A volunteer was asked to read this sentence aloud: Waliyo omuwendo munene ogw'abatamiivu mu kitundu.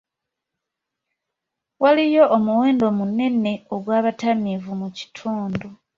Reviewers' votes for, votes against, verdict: 2, 0, accepted